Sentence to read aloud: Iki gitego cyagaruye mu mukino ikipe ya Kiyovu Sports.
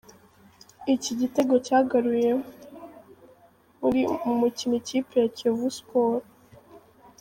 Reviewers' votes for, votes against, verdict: 0, 3, rejected